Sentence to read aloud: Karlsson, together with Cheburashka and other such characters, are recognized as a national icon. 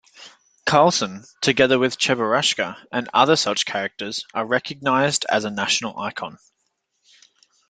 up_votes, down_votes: 2, 0